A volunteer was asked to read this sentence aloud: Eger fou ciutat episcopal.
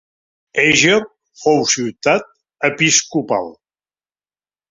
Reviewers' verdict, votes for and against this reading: accepted, 4, 1